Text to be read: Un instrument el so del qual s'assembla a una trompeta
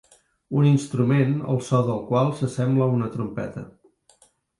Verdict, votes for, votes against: accepted, 3, 0